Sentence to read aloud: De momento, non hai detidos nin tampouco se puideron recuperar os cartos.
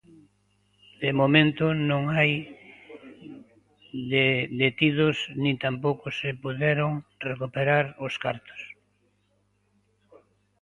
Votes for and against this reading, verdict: 0, 2, rejected